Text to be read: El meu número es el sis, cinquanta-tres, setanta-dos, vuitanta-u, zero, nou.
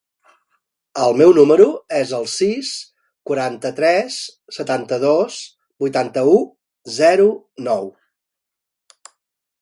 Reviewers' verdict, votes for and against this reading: rejected, 0, 2